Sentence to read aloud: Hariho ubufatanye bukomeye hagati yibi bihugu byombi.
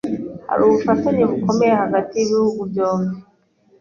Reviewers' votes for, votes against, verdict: 2, 0, accepted